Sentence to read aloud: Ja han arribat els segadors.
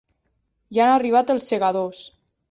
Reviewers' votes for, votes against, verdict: 0, 2, rejected